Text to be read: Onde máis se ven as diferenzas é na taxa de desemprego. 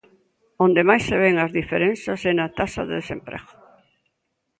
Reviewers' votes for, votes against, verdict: 1, 2, rejected